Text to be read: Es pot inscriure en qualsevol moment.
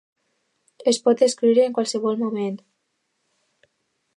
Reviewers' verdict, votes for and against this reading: rejected, 0, 2